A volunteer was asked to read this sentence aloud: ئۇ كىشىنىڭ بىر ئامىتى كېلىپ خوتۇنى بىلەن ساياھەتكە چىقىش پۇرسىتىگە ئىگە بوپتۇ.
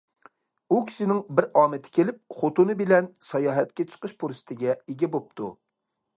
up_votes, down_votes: 2, 0